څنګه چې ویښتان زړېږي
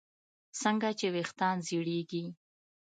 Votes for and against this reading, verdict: 2, 0, accepted